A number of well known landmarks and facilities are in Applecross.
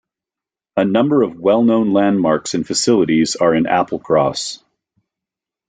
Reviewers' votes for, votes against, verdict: 2, 0, accepted